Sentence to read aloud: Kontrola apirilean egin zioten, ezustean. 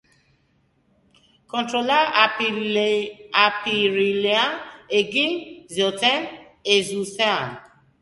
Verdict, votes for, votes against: rejected, 1, 4